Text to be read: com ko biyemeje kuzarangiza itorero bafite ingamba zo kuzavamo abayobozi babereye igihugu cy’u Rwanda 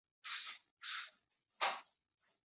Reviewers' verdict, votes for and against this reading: rejected, 0, 2